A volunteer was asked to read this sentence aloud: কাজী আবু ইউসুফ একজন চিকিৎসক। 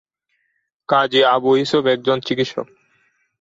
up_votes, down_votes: 2, 0